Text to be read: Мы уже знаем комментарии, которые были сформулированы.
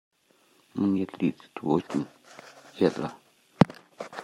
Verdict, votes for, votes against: rejected, 0, 2